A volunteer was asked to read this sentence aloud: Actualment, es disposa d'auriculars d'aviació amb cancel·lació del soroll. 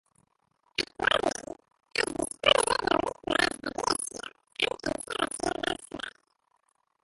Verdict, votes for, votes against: rejected, 0, 2